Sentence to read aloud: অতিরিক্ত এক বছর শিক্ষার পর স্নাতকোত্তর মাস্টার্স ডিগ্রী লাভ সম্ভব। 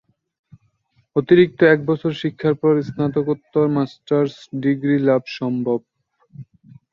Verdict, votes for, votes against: rejected, 1, 2